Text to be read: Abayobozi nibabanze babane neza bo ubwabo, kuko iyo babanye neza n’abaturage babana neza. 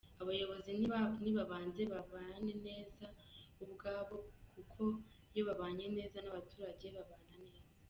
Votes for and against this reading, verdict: 0, 2, rejected